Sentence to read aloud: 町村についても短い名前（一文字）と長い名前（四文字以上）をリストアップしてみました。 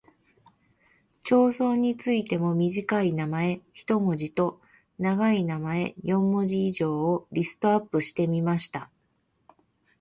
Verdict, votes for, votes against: accepted, 2, 1